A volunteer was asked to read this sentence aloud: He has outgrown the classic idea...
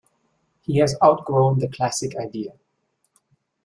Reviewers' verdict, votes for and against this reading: accepted, 3, 0